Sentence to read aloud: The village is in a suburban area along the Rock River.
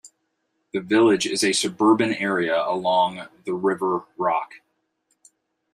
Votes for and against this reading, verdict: 1, 2, rejected